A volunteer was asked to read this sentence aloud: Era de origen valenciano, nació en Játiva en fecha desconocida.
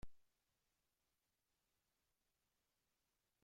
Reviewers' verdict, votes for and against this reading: rejected, 0, 2